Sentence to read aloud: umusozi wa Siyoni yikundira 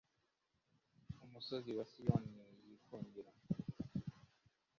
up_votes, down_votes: 1, 2